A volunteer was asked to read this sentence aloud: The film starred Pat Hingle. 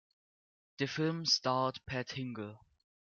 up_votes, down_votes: 2, 0